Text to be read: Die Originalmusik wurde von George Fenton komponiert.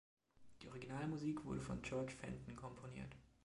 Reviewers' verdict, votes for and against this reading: accepted, 2, 1